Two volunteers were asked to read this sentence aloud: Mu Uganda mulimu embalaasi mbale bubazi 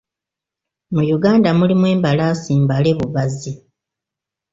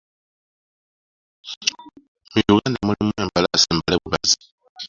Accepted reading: first